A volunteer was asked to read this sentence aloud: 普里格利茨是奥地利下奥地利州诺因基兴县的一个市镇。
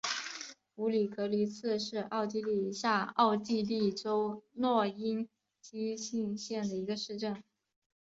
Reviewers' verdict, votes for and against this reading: accepted, 3, 0